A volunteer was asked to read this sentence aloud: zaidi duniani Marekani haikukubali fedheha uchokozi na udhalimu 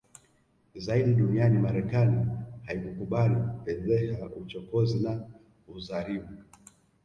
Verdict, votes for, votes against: accepted, 2, 1